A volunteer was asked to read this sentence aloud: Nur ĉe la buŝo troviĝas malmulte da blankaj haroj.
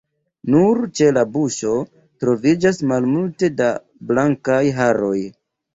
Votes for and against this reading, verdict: 2, 0, accepted